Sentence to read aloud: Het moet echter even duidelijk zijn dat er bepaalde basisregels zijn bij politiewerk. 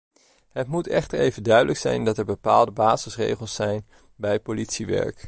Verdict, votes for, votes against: accepted, 2, 0